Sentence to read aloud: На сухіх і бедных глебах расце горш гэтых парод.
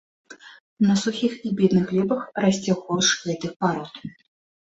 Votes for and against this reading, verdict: 2, 0, accepted